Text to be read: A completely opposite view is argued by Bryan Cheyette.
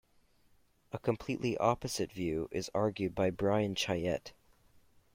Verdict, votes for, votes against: accepted, 2, 0